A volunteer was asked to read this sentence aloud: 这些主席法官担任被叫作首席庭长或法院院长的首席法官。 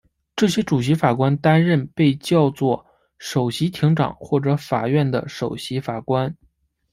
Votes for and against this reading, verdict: 1, 2, rejected